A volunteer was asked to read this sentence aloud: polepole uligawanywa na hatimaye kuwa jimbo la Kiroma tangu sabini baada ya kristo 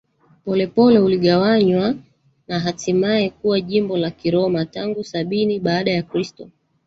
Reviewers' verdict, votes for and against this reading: rejected, 1, 2